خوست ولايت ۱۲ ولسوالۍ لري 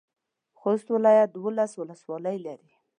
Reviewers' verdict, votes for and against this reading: rejected, 0, 2